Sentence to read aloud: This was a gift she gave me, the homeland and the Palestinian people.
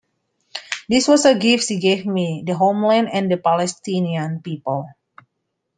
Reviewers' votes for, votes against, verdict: 1, 2, rejected